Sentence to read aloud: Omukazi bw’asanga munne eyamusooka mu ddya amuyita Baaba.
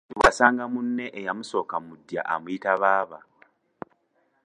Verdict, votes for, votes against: rejected, 1, 2